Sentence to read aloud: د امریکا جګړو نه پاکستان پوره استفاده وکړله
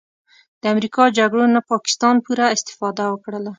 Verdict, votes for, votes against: accepted, 2, 0